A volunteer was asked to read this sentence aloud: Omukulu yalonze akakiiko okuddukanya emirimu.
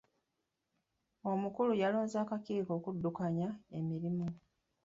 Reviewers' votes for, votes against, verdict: 2, 0, accepted